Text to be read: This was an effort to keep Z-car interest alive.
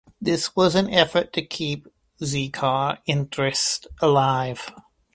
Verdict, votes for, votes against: accepted, 2, 1